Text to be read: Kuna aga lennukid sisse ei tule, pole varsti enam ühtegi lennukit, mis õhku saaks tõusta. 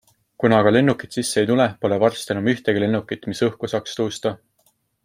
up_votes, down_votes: 2, 0